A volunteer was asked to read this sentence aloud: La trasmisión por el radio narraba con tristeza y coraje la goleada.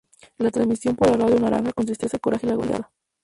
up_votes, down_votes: 0, 2